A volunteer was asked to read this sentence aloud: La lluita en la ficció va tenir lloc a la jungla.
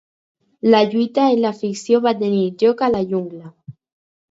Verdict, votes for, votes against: accepted, 4, 0